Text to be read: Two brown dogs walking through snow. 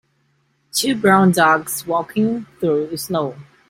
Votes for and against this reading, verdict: 2, 0, accepted